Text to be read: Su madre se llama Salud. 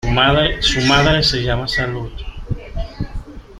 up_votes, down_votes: 0, 3